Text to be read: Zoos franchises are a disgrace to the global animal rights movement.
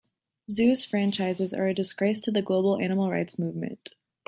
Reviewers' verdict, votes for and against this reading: rejected, 0, 2